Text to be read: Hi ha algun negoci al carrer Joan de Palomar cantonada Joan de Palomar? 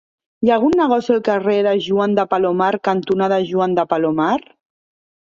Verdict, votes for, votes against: rejected, 1, 2